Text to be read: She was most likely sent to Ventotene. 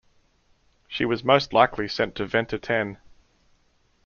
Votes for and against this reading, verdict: 2, 0, accepted